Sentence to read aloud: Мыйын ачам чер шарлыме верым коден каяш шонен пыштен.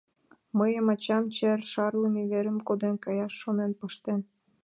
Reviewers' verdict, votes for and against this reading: accepted, 2, 0